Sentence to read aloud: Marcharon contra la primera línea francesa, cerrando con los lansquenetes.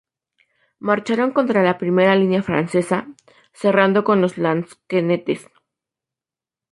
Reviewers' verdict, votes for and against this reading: rejected, 4, 4